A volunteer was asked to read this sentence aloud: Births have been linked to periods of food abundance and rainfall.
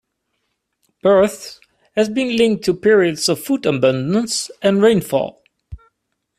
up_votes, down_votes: 0, 2